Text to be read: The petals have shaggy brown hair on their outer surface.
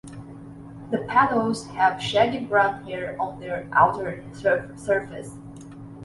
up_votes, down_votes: 0, 2